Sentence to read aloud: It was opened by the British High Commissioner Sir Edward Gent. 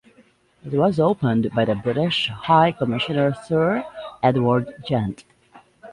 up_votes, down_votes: 2, 0